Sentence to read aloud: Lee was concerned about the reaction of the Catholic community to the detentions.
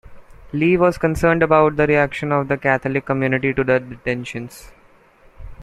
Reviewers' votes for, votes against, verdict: 2, 0, accepted